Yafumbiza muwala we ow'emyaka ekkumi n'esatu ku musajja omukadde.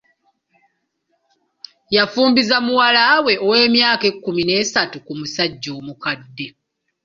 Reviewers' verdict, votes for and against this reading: accepted, 2, 0